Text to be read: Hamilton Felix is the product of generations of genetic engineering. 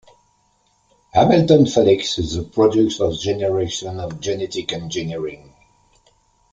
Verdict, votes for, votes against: accepted, 2, 1